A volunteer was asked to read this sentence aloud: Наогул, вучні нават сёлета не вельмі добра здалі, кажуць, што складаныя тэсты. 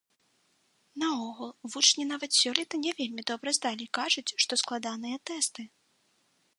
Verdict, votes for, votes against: accepted, 2, 0